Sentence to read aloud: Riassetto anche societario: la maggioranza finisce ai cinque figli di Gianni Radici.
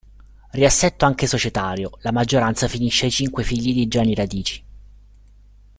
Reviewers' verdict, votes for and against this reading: rejected, 1, 2